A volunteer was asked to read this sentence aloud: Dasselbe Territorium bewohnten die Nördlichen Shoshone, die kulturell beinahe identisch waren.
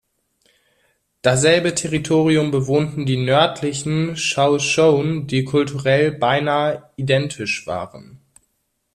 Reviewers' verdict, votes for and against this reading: rejected, 0, 2